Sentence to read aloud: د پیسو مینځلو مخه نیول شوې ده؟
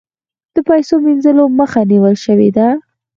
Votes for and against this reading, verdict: 4, 0, accepted